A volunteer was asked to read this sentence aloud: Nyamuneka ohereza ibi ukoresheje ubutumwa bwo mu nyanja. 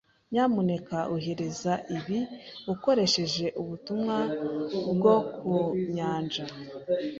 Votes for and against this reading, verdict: 2, 0, accepted